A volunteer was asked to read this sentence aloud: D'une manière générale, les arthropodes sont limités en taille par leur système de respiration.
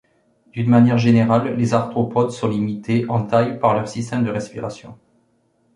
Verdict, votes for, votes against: accepted, 2, 0